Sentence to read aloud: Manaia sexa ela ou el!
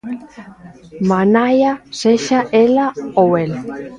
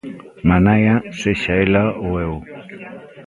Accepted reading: first